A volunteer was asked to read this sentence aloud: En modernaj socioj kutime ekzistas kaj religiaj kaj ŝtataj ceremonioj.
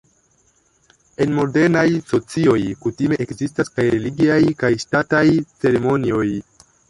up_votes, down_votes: 1, 2